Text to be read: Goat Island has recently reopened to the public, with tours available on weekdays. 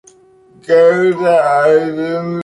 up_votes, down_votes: 0, 2